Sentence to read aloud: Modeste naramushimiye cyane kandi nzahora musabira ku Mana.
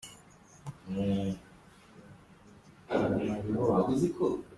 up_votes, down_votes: 0, 3